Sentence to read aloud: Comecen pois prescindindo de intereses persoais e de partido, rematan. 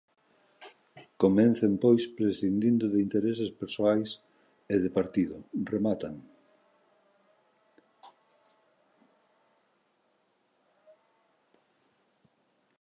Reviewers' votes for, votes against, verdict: 0, 2, rejected